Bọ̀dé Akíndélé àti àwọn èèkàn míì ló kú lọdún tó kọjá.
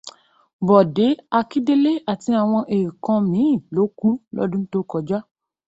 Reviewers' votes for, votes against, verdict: 0, 2, rejected